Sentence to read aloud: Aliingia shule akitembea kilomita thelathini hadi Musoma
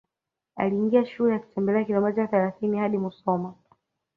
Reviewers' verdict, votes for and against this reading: accepted, 2, 1